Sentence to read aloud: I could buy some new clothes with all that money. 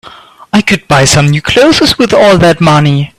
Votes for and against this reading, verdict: 1, 2, rejected